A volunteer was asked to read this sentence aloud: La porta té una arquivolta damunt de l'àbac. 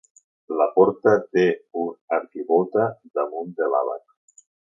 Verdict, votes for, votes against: rejected, 0, 2